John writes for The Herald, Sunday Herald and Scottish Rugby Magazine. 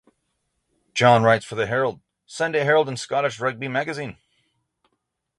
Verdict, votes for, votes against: accepted, 6, 0